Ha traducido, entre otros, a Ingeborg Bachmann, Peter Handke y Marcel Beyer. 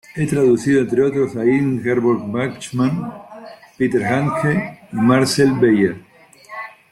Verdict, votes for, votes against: rejected, 0, 2